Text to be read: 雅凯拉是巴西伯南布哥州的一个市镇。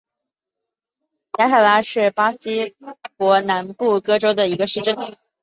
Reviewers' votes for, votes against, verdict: 6, 0, accepted